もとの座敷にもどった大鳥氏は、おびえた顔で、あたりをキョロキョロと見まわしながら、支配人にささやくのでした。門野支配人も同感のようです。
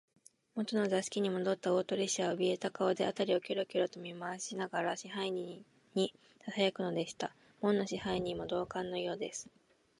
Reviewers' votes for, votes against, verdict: 0, 2, rejected